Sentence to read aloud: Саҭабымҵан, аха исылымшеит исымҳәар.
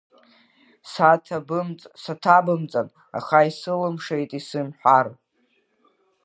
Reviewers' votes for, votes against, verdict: 0, 2, rejected